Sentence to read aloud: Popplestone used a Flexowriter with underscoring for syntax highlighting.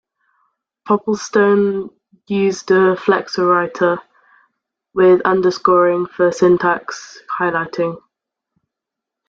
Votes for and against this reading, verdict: 2, 1, accepted